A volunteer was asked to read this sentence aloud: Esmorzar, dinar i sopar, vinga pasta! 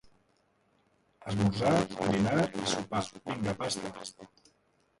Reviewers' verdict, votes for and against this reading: rejected, 0, 2